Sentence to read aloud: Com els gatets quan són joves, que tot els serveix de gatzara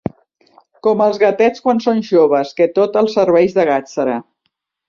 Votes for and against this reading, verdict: 2, 3, rejected